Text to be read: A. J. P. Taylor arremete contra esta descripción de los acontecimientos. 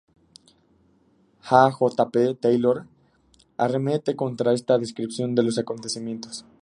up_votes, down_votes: 2, 0